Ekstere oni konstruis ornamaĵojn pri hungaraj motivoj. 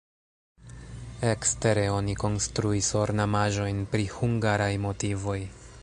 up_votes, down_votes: 1, 2